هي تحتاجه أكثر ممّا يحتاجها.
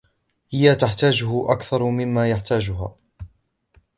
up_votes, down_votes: 2, 1